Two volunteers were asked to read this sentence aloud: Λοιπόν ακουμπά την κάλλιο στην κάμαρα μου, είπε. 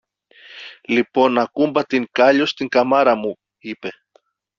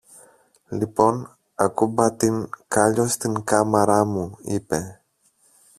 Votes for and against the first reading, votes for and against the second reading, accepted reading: 0, 2, 2, 1, second